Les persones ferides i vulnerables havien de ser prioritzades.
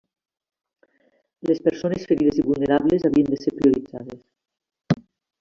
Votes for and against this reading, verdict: 2, 1, accepted